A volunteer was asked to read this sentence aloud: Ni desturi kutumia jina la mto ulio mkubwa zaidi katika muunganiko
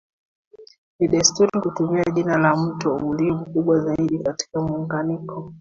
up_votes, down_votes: 2, 0